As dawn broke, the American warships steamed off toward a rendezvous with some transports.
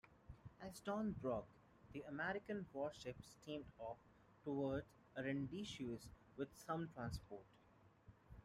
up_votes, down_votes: 0, 2